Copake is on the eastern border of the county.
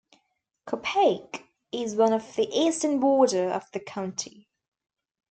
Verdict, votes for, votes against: rejected, 0, 2